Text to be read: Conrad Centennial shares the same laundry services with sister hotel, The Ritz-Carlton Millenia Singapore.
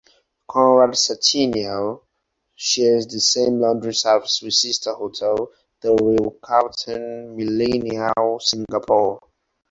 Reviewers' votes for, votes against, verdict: 2, 4, rejected